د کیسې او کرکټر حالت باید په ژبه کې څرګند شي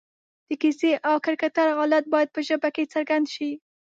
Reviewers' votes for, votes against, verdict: 1, 2, rejected